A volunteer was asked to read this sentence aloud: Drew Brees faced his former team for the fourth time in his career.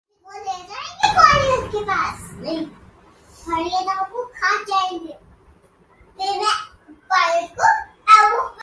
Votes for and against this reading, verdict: 0, 2, rejected